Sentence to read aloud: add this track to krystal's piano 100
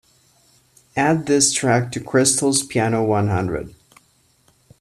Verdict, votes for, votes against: rejected, 0, 2